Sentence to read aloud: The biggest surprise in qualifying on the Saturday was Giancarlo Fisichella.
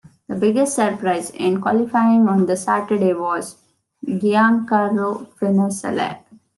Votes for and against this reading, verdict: 0, 2, rejected